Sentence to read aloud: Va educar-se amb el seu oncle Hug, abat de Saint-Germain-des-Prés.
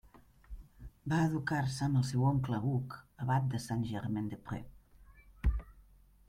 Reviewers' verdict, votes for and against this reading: rejected, 0, 2